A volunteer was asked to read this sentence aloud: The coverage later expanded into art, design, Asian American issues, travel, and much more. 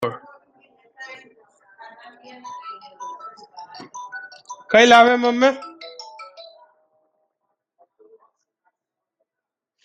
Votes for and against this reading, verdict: 0, 2, rejected